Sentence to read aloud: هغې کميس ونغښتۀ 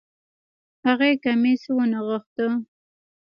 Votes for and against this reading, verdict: 2, 1, accepted